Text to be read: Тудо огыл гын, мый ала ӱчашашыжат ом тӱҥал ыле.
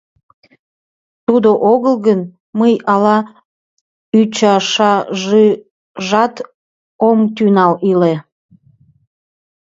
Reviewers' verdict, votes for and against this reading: rejected, 1, 2